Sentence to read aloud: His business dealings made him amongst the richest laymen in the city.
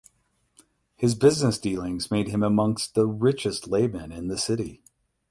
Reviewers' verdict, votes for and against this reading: accepted, 8, 0